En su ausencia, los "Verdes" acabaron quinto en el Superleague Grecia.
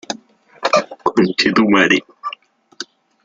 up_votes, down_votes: 0, 2